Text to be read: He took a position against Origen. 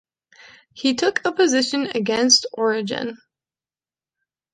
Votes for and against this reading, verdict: 2, 0, accepted